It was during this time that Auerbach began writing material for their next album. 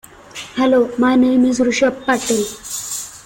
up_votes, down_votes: 0, 2